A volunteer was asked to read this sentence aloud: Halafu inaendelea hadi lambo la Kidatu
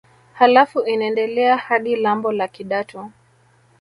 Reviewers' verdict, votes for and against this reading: accepted, 2, 0